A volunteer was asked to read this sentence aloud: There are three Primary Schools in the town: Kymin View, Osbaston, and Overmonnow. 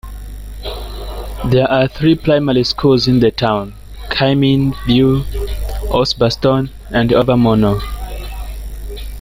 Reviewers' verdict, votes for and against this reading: accepted, 2, 1